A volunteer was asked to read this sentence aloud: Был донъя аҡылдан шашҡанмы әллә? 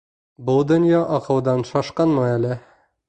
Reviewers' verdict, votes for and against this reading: rejected, 0, 2